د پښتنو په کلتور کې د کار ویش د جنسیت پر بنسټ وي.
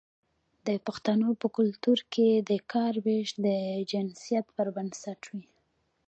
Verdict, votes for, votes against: accepted, 2, 0